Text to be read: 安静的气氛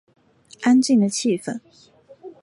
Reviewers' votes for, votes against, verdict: 2, 0, accepted